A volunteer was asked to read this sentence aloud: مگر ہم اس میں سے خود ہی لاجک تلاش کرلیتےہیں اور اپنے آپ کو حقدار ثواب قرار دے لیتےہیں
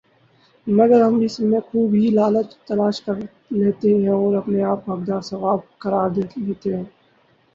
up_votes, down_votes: 2, 4